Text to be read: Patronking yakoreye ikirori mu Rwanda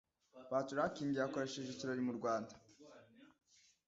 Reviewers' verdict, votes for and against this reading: rejected, 1, 2